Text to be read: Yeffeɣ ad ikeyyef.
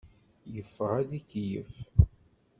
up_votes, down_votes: 2, 0